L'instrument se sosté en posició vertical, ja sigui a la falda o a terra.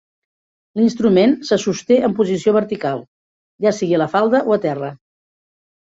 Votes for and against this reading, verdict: 1, 2, rejected